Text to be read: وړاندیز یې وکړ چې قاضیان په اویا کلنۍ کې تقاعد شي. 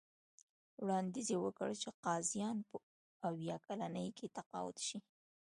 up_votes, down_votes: 2, 0